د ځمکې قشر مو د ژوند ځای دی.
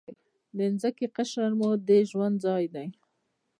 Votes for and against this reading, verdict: 0, 2, rejected